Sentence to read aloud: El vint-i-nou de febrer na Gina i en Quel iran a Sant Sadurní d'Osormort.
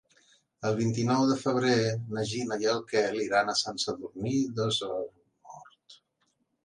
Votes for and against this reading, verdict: 0, 2, rejected